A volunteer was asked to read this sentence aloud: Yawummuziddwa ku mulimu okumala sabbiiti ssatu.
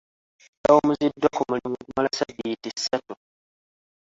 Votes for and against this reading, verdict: 1, 2, rejected